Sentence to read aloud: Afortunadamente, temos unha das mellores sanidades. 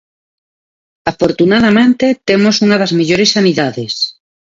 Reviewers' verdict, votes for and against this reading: rejected, 0, 2